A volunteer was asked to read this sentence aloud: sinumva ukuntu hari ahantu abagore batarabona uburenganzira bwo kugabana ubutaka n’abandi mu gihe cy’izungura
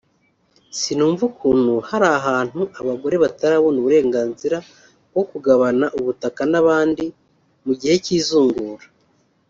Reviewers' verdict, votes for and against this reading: accepted, 2, 0